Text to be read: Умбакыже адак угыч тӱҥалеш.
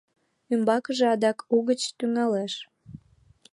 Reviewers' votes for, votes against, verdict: 2, 1, accepted